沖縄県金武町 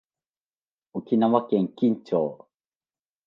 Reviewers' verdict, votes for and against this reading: accepted, 2, 0